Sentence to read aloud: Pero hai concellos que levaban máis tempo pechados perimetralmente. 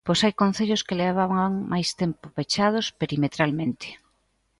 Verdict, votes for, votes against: rejected, 1, 2